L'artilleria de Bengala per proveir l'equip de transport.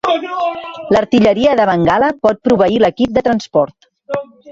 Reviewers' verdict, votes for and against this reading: rejected, 1, 2